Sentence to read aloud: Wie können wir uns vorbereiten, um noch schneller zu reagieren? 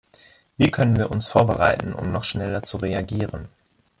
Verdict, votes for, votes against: accepted, 2, 0